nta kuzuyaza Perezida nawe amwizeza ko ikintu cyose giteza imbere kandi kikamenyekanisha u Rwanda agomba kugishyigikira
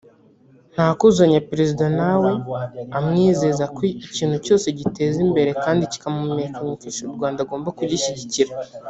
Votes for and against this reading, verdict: 1, 2, rejected